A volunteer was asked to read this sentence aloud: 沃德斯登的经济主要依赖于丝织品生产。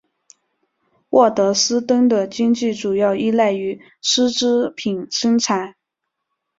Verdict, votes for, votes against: accepted, 5, 0